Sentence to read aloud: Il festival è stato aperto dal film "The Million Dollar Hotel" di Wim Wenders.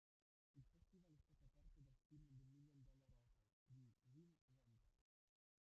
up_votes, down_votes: 0, 2